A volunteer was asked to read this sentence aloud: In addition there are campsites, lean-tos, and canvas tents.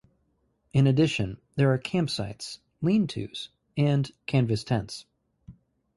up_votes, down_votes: 4, 0